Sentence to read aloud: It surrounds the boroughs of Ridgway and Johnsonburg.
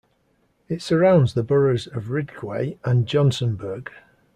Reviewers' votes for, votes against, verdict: 0, 2, rejected